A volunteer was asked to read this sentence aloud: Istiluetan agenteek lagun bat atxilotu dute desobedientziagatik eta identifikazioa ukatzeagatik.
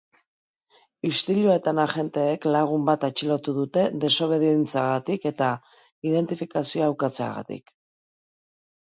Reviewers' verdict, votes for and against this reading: rejected, 1, 2